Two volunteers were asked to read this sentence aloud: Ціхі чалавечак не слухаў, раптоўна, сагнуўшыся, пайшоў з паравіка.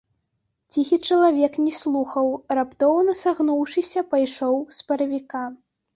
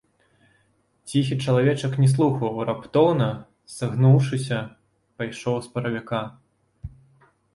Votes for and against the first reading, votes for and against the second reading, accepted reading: 1, 2, 2, 0, second